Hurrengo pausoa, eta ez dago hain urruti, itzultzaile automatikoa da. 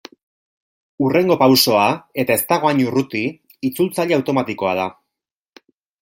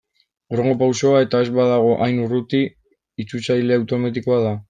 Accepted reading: first